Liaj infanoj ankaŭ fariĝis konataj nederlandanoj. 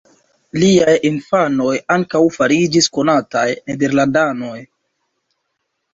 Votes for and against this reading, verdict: 2, 0, accepted